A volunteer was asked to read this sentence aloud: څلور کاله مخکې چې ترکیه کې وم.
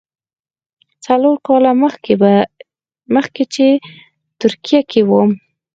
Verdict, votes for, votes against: rejected, 0, 4